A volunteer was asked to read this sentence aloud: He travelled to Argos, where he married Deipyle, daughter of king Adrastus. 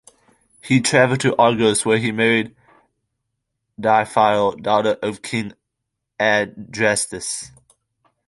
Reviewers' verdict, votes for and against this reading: rejected, 1, 2